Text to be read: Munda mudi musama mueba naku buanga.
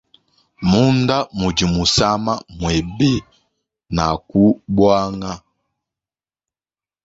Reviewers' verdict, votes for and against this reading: rejected, 1, 2